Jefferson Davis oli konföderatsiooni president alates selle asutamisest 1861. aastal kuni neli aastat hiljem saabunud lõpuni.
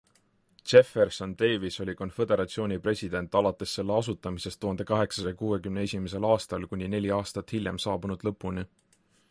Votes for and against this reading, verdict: 0, 2, rejected